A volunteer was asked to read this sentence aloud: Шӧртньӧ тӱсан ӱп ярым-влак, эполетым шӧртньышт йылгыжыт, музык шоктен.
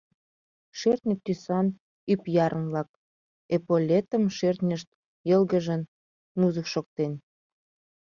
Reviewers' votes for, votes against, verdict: 0, 2, rejected